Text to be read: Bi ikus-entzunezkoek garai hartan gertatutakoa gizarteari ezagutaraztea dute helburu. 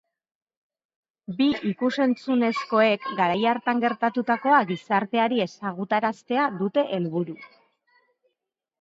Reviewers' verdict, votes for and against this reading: accepted, 2, 1